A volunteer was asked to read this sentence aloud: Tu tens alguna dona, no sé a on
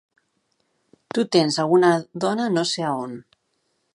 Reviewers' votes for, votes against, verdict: 2, 0, accepted